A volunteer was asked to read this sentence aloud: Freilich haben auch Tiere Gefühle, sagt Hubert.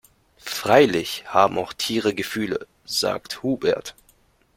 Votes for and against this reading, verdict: 2, 1, accepted